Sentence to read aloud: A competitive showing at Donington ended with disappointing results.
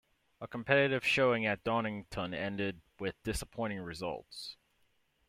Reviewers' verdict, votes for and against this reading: accepted, 2, 0